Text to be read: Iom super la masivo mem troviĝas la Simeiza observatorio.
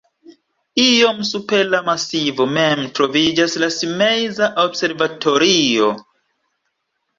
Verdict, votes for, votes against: rejected, 1, 2